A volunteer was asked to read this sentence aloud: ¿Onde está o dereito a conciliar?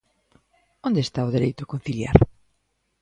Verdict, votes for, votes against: accepted, 2, 0